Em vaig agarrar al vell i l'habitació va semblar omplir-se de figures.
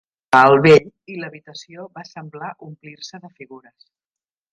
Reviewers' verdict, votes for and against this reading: rejected, 0, 2